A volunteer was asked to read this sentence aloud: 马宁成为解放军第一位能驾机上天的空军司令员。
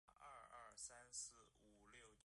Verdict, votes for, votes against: rejected, 0, 2